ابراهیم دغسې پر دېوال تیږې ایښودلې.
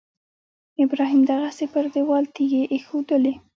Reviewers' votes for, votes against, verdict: 1, 2, rejected